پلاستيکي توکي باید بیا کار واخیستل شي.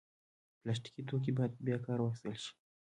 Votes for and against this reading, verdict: 1, 2, rejected